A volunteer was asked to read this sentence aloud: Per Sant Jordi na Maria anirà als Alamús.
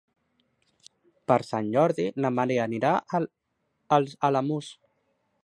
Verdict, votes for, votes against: rejected, 0, 2